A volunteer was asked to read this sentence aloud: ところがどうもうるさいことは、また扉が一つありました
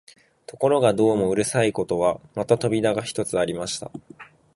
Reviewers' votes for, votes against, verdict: 4, 0, accepted